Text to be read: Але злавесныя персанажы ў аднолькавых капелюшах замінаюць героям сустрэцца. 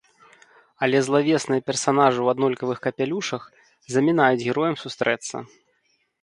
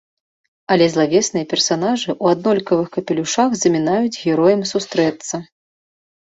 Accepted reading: second